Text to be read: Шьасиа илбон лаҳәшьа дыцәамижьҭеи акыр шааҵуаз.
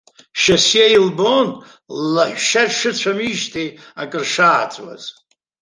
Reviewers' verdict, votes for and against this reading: rejected, 0, 2